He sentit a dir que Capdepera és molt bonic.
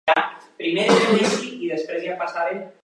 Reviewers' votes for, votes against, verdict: 0, 2, rejected